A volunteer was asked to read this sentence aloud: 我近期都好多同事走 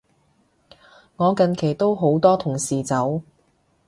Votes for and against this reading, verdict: 2, 0, accepted